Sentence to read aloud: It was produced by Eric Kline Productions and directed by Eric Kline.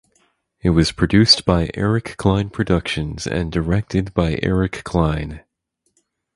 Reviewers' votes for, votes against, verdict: 4, 0, accepted